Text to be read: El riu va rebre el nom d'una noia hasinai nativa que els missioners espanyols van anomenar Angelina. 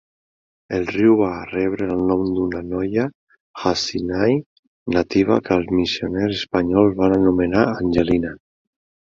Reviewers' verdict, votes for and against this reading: accepted, 2, 0